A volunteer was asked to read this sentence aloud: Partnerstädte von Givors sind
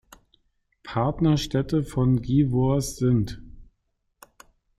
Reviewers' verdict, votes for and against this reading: accepted, 2, 0